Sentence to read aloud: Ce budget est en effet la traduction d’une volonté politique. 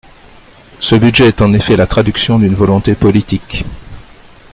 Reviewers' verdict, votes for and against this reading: accepted, 2, 0